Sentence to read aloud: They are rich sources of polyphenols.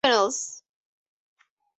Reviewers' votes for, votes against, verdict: 0, 4, rejected